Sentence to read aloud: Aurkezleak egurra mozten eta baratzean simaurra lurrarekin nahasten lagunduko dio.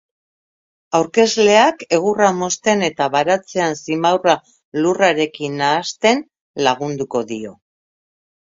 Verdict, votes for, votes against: accepted, 2, 0